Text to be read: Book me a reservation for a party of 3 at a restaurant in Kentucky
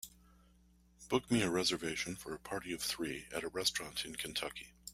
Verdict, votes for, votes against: rejected, 0, 2